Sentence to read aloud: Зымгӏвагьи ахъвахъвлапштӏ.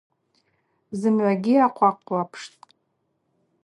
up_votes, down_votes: 2, 0